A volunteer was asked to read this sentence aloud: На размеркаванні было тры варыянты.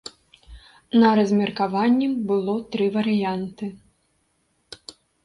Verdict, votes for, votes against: accepted, 2, 0